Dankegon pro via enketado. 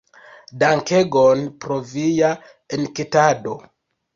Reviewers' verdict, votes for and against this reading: accepted, 3, 0